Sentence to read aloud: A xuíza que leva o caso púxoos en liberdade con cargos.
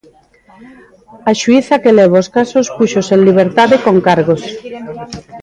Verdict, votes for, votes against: rejected, 0, 2